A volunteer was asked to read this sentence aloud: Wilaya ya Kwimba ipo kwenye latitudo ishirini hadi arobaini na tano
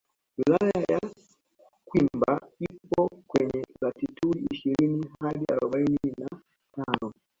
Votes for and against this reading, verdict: 0, 2, rejected